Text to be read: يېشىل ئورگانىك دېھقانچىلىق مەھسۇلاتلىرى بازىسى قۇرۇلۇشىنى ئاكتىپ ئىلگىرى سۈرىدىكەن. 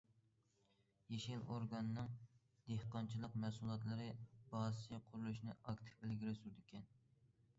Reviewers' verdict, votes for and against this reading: rejected, 0, 2